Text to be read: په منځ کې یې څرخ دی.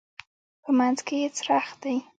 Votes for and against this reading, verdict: 2, 0, accepted